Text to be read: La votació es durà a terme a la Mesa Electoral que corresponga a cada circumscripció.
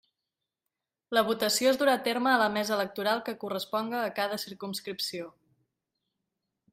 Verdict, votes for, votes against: accepted, 4, 0